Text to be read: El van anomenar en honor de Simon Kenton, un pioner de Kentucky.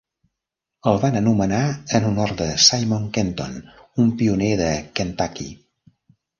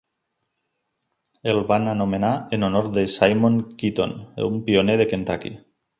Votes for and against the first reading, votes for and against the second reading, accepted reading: 3, 0, 1, 2, first